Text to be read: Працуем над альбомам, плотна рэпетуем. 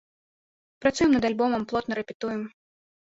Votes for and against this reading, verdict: 2, 0, accepted